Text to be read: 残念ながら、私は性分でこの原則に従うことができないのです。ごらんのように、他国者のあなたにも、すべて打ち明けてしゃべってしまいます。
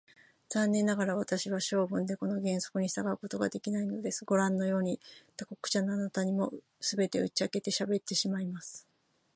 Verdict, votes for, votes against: rejected, 0, 3